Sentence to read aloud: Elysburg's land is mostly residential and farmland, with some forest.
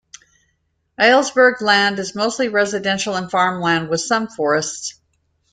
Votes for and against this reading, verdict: 2, 1, accepted